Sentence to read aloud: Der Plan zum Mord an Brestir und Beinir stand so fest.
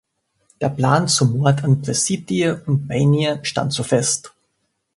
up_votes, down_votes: 0, 2